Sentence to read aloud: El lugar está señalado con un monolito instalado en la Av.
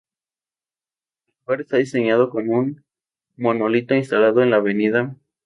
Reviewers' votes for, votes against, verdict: 0, 2, rejected